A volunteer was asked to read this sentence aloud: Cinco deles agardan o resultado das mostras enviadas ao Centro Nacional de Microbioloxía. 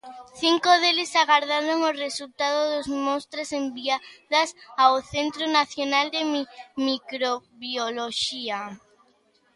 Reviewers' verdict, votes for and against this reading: rejected, 0, 2